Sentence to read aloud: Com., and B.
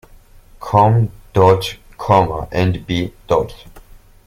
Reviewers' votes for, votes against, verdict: 2, 0, accepted